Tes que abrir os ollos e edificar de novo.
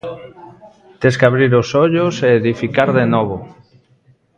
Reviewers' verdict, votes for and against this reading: rejected, 0, 2